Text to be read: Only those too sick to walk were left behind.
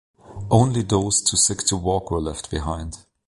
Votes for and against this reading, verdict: 2, 0, accepted